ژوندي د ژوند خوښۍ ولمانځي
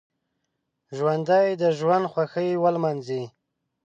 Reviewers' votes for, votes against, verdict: 1, 2, rejected